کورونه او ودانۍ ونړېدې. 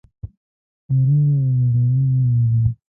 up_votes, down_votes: 0, 2